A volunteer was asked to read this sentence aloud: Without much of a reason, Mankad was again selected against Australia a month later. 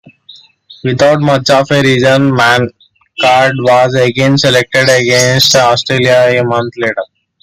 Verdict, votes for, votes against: accepted, 2, 1